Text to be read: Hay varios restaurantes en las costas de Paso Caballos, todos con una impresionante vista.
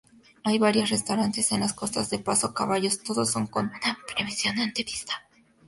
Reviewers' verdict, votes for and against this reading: accepted, 2, 0